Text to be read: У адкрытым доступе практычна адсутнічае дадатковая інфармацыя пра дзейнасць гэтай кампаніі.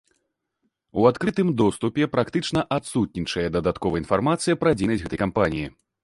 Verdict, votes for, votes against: rejected, 1, 2